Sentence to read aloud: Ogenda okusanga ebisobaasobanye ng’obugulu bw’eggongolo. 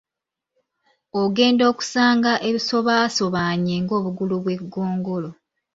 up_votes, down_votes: 2, 0